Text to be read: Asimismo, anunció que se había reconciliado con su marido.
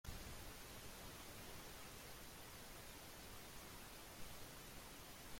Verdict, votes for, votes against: rejected, 0, 2